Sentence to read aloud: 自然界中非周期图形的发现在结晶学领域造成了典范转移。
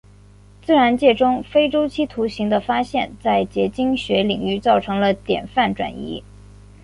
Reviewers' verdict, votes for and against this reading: accepted, 2, 0